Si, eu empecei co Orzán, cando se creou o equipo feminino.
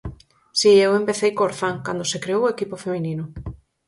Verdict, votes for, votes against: accepted, 4, 0